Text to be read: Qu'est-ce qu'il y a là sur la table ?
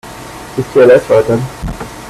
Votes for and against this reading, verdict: 1, 2, rejected